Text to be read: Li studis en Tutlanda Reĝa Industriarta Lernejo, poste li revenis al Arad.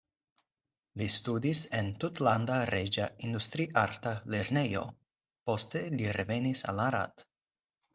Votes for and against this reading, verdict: 4, 0, accepted